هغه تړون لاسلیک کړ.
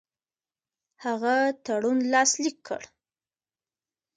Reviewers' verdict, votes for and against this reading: rejected, 1, 2